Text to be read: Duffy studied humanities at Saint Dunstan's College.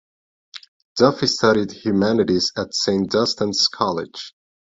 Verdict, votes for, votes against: rejected, 1, 2